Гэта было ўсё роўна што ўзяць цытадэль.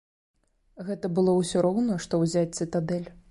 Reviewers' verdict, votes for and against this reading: accepted, 2, 0